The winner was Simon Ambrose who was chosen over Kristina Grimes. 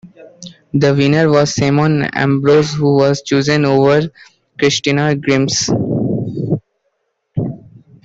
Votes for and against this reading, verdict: 2, 1, accepted